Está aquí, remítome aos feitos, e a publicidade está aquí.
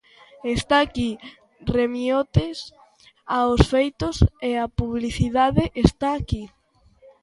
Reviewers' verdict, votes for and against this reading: rejected, 0, 2